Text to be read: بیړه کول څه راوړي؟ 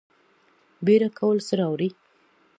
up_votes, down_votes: 2, 0